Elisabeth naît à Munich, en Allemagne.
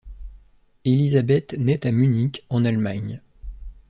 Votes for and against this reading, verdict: 2, 0, accepted